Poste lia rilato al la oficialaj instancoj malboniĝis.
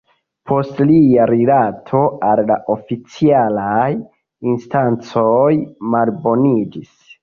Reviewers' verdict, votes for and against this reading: rejected, 0, 2